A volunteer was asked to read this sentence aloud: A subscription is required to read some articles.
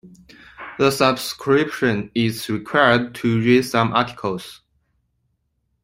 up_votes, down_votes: 2, 1